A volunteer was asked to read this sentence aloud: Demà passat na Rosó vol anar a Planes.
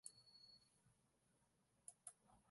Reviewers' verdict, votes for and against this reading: rejected, 0, 2